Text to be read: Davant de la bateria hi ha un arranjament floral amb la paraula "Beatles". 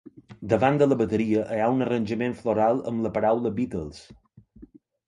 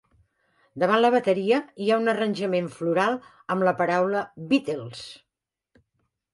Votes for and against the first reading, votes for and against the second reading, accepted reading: 0, 2, 2, 0, second